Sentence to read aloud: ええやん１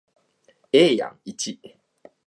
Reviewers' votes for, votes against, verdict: 0, 2, rejected